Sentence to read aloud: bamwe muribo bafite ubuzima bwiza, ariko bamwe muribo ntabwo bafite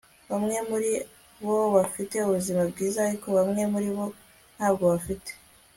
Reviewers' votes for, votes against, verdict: 2, 0, accepted